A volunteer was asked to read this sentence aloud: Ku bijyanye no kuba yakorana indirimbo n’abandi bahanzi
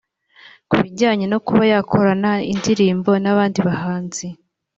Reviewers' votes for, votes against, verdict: 2, 0, accepted